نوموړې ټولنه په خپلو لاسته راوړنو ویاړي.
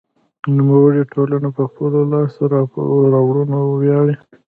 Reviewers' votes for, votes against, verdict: 3, 0, accepted